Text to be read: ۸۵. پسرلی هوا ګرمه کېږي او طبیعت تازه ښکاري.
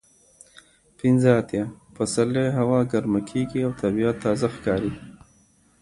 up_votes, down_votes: 0, 2